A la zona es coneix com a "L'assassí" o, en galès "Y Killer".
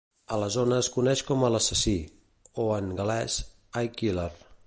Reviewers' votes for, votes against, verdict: 2, 0, accepted